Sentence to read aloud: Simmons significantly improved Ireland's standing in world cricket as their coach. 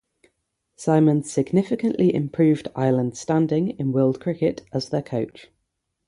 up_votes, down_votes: 0, 6